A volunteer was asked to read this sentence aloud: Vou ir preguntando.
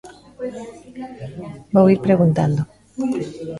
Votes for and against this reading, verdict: 1, 2, rejected